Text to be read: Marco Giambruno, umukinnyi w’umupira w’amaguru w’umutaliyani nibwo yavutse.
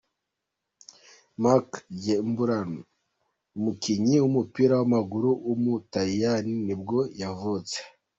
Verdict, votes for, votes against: rejected, 1, 2